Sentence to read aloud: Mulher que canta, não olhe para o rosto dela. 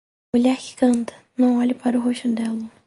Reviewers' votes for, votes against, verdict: 0, 2, rejected